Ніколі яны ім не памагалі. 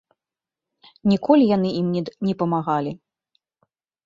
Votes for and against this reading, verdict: 1, 3, rejected